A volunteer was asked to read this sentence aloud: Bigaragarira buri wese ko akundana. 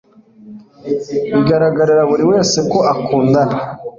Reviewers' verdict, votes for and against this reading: accepted, 2, 0